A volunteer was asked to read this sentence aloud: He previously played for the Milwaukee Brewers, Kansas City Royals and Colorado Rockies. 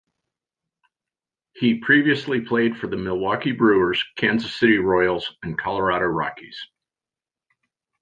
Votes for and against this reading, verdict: 2, 0, accepted